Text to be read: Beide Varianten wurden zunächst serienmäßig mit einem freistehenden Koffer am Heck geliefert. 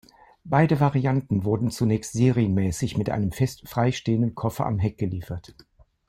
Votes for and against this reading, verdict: 0, 2, rejected